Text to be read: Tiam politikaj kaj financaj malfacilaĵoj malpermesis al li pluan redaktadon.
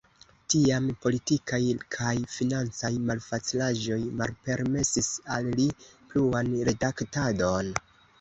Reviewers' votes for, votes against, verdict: 2, 0, accepted